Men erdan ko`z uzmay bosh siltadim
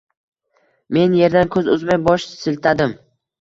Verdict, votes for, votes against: accepted, 2, 1